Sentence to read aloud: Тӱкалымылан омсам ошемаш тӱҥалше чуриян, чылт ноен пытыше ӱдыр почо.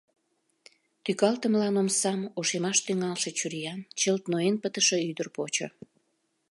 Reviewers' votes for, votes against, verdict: 1, 2, rejected